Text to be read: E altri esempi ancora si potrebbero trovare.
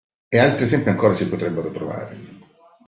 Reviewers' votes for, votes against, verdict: 2, 0, accepted